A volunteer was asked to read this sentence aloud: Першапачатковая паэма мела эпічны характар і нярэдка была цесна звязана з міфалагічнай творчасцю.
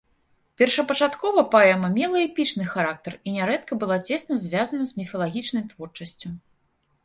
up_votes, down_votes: 1, 2